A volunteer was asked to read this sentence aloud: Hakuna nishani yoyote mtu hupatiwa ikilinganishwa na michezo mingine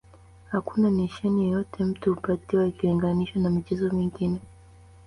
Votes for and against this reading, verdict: 2, 1, accepted